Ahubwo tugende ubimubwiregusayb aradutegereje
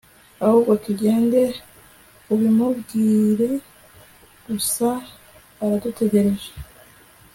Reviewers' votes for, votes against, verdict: 1, 2, rejected